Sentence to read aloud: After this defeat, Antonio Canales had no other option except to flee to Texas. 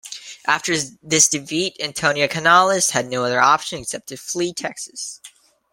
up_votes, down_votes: 0, 2